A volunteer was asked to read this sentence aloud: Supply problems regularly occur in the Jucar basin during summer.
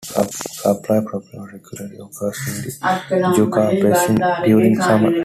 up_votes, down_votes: 0, 2